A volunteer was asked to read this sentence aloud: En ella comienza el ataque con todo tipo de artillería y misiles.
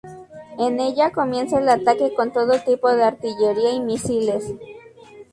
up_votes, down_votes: 0, 2